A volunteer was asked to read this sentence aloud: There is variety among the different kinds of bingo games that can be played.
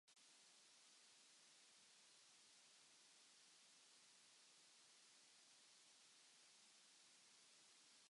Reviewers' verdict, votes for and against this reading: rejected, 0, 2